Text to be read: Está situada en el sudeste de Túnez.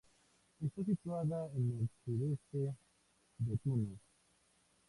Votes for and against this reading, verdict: 0, 2, rejected